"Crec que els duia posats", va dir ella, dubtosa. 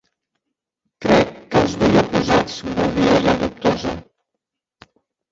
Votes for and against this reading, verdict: 0, 2, rejected